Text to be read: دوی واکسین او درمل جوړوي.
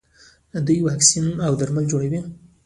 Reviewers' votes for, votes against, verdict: 1, 2, rejected